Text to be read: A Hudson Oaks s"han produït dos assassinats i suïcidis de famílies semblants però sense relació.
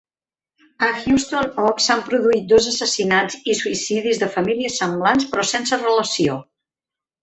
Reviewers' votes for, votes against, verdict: 1, 2, rejected